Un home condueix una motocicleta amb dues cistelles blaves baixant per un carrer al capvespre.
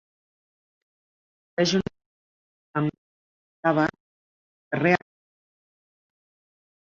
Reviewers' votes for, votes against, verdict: 0, 2, rejected